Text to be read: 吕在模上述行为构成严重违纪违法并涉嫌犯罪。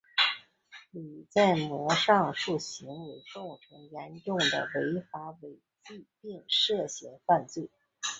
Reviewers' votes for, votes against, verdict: 2, 3, rejected